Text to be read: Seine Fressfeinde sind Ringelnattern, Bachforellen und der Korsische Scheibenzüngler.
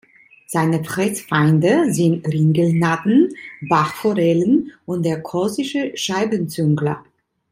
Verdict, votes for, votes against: rejected, 0, 2